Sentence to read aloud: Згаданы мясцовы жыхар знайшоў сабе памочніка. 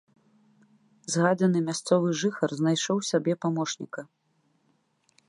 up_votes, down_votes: 1, 2